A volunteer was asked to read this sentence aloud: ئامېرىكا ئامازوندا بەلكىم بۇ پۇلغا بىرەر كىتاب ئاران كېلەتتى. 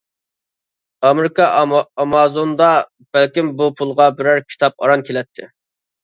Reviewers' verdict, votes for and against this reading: accepted, 2, 1